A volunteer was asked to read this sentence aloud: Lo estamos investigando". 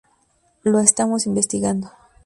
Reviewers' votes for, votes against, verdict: 2, 0, accepted